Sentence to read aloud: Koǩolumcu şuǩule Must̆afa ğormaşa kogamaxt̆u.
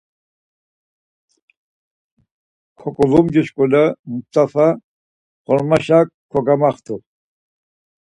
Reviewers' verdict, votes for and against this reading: accepted, 4, 0